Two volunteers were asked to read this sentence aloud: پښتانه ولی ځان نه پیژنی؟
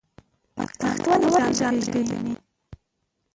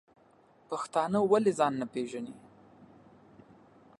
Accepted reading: second